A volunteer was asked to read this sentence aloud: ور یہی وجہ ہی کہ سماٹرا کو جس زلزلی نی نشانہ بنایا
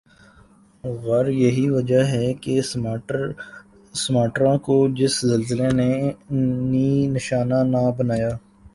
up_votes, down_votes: 3, 0